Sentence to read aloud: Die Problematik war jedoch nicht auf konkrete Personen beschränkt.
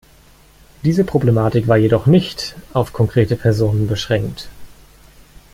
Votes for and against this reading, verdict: 1, 2, rejected